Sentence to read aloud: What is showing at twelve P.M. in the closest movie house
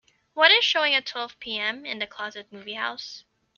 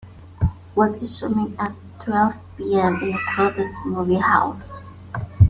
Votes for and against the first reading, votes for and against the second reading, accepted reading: 0, 2, 3, 1, second